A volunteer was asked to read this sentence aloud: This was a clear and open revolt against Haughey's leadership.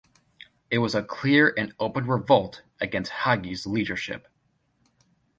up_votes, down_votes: 1, 2